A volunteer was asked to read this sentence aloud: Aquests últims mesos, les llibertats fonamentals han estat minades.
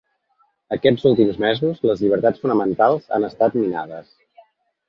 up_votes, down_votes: 3, 0